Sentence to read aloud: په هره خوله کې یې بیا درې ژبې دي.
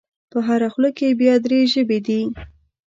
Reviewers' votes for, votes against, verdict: 2, 0, accepted